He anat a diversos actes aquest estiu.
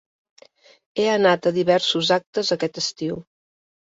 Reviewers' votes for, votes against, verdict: 3, 0, accepted